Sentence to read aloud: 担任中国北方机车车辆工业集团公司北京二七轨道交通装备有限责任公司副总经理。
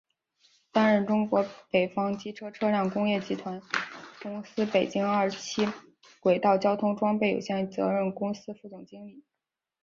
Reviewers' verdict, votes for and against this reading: accepted, 3, 2